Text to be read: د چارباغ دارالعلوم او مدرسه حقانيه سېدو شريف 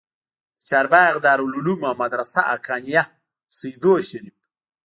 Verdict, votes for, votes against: accepted, 2, 0